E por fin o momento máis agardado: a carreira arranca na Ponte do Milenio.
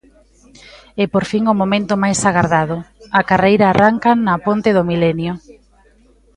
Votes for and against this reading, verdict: 2, 0, accepted